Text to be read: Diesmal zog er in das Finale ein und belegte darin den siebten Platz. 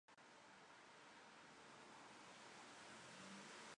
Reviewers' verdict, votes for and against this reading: rejected, 0, 2